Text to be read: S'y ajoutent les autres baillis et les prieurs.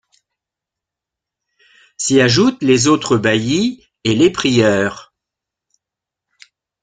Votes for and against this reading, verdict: 2, 0, accepted